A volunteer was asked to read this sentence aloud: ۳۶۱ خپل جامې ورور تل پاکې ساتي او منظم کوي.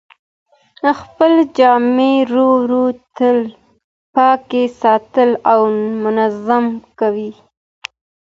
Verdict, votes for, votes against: rejected, 0, 2